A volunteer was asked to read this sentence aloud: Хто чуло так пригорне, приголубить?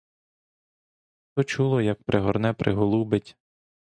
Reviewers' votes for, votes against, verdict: 0, 2, rejected